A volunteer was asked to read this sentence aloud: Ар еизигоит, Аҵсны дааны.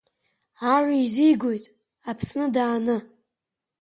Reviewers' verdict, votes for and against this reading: accepted, 2, 0